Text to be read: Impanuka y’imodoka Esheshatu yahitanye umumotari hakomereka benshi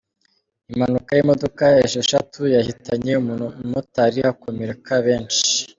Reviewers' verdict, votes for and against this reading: accepted, 2, 0